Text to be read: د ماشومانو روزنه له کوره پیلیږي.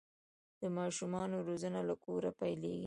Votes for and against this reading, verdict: 2, 1, accepted